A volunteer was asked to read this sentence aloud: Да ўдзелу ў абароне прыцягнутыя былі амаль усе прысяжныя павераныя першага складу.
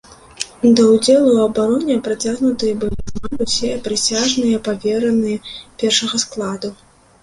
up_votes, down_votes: 1, 2